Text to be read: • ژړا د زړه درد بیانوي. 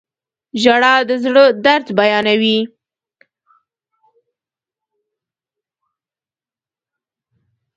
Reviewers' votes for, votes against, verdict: 2, 0, accepted